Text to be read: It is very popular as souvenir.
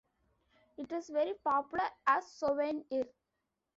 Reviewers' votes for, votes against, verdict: 1, 2, rejected